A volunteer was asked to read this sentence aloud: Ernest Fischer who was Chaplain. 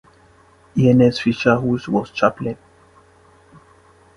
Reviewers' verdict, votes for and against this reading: rejected, 0, 2